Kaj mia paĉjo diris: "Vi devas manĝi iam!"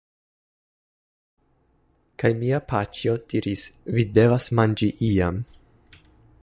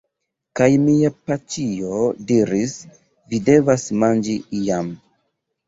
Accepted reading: first